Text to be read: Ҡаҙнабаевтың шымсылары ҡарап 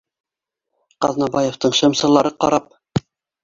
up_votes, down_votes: 0, 2